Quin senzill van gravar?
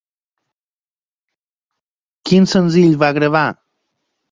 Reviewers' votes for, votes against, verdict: 0, 4, rejected